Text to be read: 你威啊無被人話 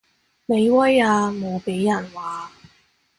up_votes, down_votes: 2, 1